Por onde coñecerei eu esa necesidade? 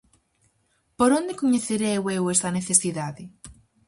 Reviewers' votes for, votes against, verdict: 2, 2, rejected